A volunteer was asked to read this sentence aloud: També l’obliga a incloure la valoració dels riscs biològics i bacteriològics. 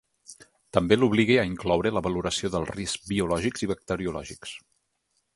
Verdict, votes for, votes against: accepted, 2, 0